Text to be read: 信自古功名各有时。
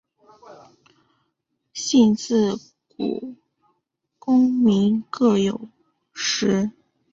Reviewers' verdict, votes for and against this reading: accepted, 2, 0